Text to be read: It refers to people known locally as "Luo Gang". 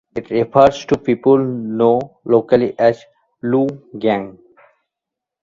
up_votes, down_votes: 1, 2